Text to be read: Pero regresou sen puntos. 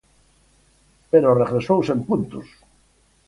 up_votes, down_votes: 4, 0